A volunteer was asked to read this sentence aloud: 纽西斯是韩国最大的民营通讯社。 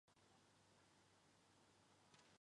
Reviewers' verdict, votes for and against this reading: rejected, 0, 5